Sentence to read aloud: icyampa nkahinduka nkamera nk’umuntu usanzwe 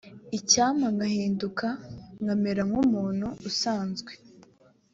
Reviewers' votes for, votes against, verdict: 2, 0, accepted